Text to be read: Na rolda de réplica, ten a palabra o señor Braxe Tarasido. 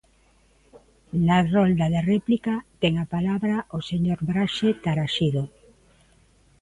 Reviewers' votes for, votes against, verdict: 2, 1, accepted